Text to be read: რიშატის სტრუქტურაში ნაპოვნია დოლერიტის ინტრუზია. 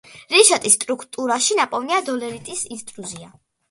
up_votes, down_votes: 0, 2